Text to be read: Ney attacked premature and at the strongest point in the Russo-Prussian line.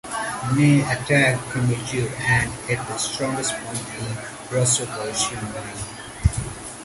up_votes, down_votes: 2, 0